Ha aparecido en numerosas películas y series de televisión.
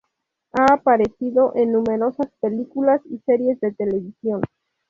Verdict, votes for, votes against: rejected, 2, 2